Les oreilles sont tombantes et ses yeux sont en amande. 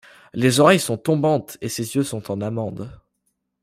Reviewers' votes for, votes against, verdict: 2, 0, accepted